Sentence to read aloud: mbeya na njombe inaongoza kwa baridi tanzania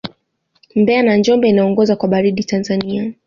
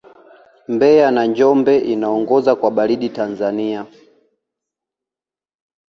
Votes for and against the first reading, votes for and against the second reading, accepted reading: 2, 0, 0, 2, first